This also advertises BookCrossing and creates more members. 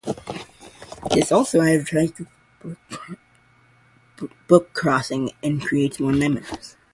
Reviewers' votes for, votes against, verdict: 2, 2, rejected